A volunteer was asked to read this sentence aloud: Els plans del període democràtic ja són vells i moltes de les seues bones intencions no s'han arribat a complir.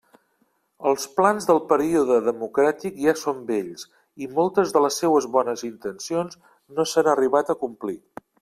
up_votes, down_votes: 3, 0